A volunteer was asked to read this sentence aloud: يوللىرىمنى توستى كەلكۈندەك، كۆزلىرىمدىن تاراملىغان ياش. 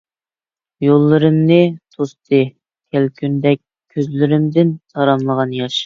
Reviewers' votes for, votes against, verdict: 2, 0, accepted